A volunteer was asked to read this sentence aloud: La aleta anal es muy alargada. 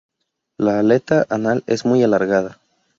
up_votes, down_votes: 4, 2